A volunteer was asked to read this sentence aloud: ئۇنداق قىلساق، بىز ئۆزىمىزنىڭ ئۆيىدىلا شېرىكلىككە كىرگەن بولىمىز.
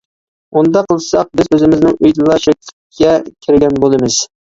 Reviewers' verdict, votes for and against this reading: rejected, 1, 2